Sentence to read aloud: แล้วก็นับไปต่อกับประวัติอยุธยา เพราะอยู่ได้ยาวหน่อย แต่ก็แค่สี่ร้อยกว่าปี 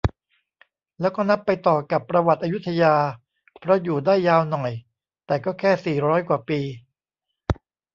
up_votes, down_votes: 0, 2